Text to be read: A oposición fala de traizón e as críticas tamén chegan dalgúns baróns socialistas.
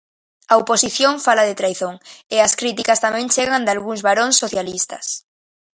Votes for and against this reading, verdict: 2, 0, accepted